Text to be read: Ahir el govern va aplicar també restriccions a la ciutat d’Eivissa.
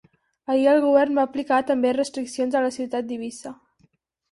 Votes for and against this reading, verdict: 8, 0, accepted